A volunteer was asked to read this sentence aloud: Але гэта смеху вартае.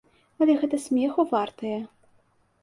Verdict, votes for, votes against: accepted, 2, 0